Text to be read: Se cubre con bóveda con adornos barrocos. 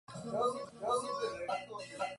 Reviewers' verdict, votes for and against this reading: rejected, 0, 2